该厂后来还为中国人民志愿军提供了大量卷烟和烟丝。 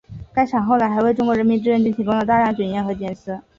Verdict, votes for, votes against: accepted, 3, 0